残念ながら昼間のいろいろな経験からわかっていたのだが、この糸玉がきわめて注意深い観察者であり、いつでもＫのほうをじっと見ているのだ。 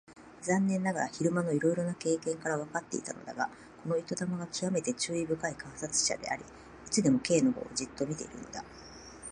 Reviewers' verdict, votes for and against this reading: accepted, 2, 0